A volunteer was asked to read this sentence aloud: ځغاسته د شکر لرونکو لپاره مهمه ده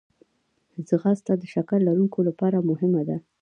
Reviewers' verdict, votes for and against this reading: rejected, 0, 2